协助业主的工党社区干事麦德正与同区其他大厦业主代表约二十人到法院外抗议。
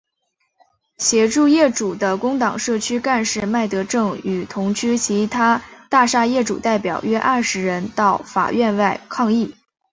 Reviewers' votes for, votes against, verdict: 3, 0, accepted